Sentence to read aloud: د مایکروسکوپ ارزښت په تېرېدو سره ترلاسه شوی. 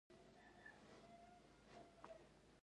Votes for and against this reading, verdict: 0, 2, rejected